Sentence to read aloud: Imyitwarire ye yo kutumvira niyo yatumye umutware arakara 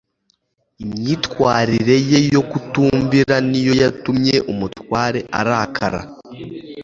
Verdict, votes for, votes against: accepted, 2, 0